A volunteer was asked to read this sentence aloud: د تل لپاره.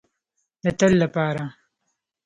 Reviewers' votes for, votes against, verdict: 2, 0, accepted